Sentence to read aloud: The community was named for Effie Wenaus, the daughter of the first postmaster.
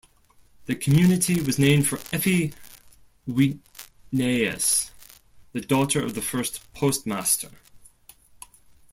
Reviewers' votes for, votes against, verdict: 1, 2, rejected